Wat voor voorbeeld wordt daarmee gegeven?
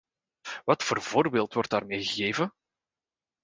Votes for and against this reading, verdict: 2, 0, accepted